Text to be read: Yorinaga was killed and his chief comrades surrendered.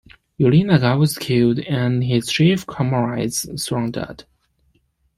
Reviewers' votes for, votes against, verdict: 2, 0, accepted